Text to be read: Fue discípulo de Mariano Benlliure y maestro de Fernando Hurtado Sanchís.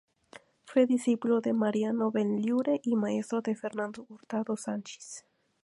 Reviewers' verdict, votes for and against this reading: accepted, 2, 0